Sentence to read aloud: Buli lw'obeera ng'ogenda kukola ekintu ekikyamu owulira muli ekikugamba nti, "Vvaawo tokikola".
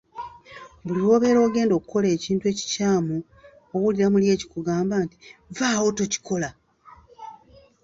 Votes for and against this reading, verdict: 1, 3, rejected